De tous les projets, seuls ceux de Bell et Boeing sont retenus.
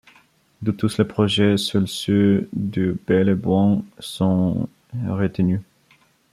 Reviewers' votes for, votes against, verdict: 0, 2, rejected